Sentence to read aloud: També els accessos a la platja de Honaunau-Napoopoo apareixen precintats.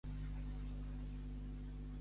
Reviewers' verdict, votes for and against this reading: rejected, 0, 4